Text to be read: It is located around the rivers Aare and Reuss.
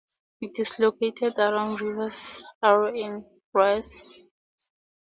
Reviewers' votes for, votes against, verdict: 2, 2, rejected